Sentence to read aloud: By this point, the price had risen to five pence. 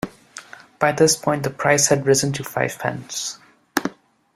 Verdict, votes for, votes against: accepted, 2, 0